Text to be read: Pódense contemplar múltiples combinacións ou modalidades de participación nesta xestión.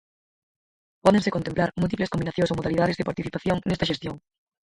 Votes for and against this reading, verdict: 0, 4, rejected